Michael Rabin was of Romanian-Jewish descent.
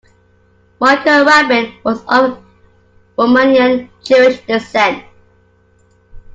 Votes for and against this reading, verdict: 2, 1, accepted